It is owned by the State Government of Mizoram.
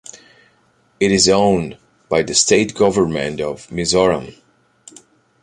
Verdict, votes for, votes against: accepted, 2, 0